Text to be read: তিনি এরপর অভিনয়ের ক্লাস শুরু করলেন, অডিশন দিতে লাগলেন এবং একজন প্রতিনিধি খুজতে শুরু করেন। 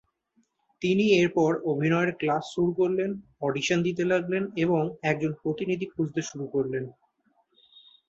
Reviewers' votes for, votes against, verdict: 0, 2, rejected